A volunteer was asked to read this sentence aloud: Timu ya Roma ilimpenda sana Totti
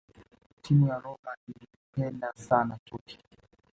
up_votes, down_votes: 2, 1